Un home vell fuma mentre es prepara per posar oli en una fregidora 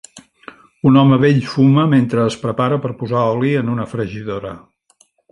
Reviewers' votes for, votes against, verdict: 3, 0, accepted